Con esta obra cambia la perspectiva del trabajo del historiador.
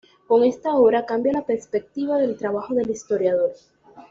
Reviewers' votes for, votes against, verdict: 2, 0, accepted